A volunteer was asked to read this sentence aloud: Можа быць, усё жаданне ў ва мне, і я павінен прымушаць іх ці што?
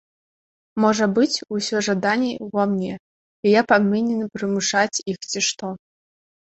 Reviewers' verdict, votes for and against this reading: rejected, 2, 3